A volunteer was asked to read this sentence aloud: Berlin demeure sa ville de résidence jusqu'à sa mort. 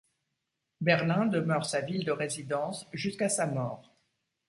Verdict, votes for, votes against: accepted, 2, 0